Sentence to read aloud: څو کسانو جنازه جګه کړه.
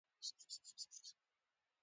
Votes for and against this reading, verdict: 0, 2, rejected